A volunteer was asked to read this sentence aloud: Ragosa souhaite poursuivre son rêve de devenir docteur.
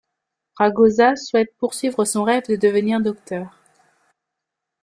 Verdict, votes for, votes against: accepted, 2, 0